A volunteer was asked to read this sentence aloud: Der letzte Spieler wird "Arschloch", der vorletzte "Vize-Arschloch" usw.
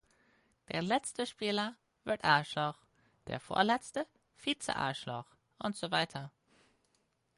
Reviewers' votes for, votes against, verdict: 2, 4, rejected